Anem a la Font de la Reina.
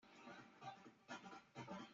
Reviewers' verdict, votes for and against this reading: rejected, 0, 2